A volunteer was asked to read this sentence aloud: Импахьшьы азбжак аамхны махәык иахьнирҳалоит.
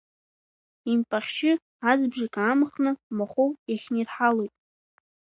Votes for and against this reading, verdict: 2, 1, accepted